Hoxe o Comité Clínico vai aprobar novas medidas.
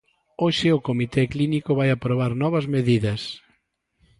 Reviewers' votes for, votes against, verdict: 2, 0, accepted